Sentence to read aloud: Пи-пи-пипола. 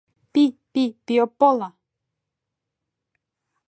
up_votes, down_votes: 1, 2